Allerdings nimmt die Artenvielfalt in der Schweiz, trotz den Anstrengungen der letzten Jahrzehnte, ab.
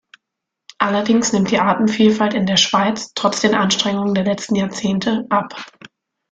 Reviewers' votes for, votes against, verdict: 2, 0, accepted